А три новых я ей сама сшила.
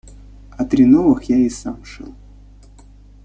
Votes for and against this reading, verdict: 0, 2, rejected